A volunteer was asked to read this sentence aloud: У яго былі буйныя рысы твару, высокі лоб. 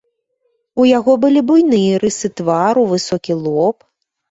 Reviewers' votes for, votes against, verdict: 2, 0, accepted